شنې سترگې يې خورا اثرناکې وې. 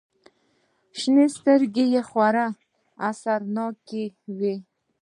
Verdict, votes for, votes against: rejected, 1, 2